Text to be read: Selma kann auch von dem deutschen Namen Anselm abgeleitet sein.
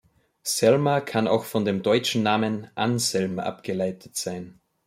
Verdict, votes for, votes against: accepted, 2, 0